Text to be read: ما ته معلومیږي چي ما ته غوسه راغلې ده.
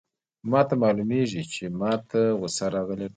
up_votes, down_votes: 1, 2